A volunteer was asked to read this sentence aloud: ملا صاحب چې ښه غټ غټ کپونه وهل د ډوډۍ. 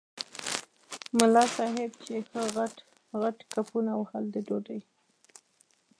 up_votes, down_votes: 1, 2